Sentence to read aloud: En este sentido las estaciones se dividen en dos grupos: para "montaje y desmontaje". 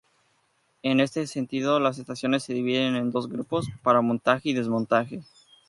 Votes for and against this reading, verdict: 2, 0, accepted